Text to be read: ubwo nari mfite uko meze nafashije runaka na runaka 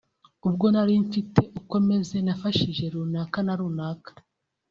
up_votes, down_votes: 2, 0